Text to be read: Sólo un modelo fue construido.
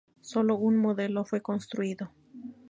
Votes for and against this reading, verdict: 2, 0, accepted